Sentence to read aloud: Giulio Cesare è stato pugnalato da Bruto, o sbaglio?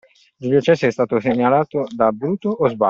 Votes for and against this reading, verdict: 2, 0, accepted